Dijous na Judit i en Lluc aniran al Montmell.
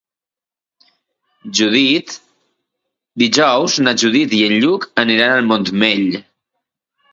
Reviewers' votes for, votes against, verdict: 0, 2, rejected